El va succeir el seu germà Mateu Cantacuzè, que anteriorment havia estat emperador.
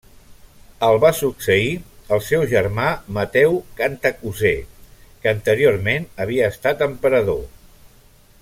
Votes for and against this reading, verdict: 2, 0, accepted